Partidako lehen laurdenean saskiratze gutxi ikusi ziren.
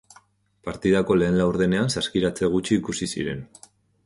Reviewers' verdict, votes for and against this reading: accepted, 2, 0